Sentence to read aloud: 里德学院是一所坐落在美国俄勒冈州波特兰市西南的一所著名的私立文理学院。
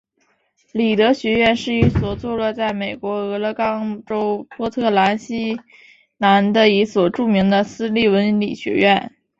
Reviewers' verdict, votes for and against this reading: accepted, 4, 2